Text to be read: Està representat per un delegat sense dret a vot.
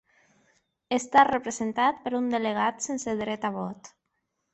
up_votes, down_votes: 3, 0